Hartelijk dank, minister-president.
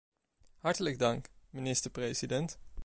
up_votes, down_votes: 2, 0